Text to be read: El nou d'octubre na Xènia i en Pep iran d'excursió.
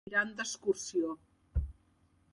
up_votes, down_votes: 1, 3